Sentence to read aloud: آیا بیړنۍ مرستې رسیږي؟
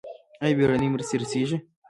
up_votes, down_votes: 2, 1